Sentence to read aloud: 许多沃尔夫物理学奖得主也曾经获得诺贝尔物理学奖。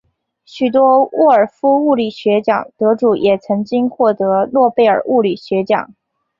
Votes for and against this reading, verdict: 2, 1, accepted